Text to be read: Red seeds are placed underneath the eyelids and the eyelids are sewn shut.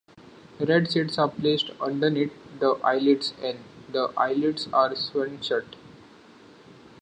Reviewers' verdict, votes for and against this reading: accepted, 2, 0